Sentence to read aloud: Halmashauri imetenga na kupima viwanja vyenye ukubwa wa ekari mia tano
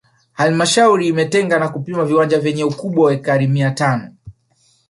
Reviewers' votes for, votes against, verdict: 0, 2, rejected